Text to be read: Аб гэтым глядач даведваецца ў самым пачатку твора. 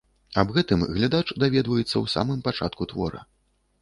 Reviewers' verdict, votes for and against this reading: accepted, 2, 0